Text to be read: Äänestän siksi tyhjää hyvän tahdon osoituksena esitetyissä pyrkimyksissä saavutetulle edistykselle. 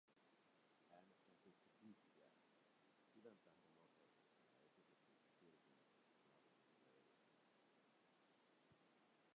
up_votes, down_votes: 0, 2